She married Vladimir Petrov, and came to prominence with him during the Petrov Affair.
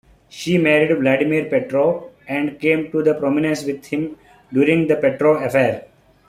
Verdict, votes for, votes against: accepted, 2, 1